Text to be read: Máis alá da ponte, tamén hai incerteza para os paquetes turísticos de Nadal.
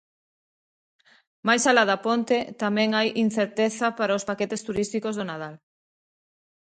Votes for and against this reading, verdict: 2, 1, accepted